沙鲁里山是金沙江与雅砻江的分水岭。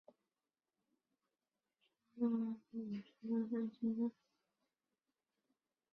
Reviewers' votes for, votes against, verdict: 0, 5, rejected